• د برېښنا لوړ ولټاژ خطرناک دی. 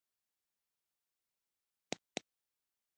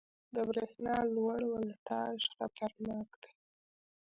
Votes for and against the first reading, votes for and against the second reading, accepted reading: 0, 2, 2, 0, second